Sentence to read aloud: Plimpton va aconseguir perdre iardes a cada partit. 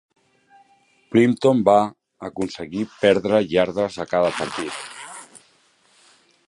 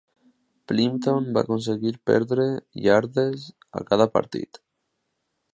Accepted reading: second